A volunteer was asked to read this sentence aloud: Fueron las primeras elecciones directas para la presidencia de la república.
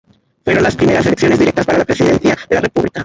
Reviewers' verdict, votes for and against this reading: rejected, 0, 2